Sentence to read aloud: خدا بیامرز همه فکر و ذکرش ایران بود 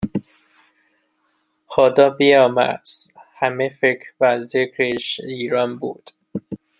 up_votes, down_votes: 0, 2